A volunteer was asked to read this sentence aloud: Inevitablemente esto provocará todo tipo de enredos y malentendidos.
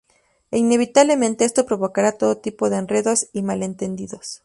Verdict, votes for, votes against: accepted, 2, 0